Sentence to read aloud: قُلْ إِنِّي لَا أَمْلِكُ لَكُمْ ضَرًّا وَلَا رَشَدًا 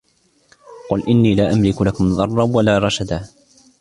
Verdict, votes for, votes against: accepted, 2, 0